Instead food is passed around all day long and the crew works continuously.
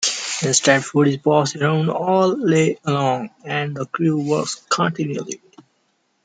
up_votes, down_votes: 0, 2